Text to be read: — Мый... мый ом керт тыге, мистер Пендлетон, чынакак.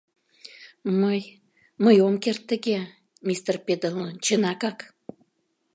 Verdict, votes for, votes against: rejected, 0, 2